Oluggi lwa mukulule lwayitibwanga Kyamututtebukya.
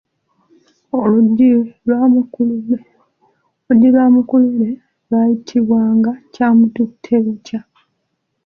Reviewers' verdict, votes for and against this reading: accepted, 2, 1